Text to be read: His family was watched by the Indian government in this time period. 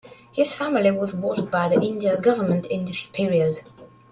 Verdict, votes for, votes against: rejected, 1, 2